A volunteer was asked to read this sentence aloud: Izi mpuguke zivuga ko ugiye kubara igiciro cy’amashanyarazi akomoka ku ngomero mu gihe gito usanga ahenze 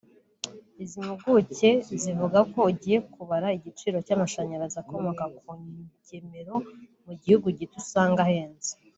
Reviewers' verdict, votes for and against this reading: rejected, 1, 2